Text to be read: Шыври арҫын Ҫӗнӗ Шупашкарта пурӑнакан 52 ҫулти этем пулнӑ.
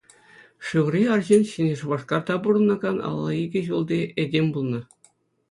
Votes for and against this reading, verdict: 0, 2, rejected